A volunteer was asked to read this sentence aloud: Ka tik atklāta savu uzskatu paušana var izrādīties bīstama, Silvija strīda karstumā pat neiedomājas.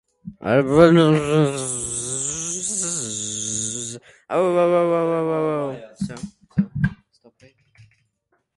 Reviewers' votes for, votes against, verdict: 0, 2, rejected